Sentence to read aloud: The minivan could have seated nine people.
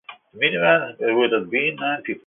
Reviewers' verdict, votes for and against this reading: rejected, 0, 2